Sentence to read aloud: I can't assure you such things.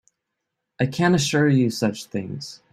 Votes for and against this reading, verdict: 2, 0, accepted